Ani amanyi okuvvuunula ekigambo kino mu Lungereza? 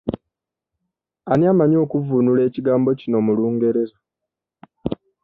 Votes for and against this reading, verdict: 2, 0, accepted